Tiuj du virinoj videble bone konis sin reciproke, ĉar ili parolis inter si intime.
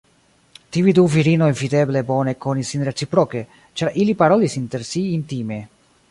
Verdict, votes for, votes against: accepted, 2, 0